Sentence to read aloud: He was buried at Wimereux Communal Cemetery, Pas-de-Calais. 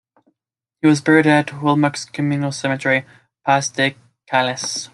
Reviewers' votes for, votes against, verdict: 1, 2, rejected